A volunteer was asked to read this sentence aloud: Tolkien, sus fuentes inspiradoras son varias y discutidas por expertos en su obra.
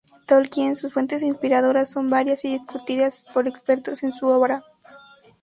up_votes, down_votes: 0, 2